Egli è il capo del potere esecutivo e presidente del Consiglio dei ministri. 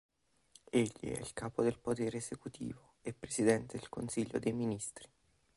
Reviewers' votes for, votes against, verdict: 2, 0, accepted